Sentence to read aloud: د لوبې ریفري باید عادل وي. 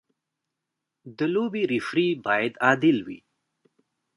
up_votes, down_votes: 3, 1